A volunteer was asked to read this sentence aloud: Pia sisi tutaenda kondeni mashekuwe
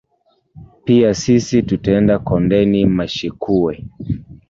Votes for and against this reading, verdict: 2, 1, accepted